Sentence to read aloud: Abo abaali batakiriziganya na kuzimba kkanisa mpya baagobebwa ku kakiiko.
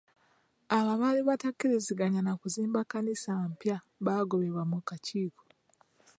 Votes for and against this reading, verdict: 2, 1, accepted